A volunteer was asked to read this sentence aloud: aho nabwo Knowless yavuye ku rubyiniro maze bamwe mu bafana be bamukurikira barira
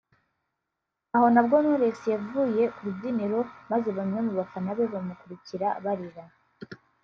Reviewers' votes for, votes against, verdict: 3, 0, accepted